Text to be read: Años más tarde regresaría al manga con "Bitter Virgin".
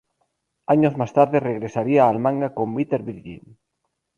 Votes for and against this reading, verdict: 4, 0, accepted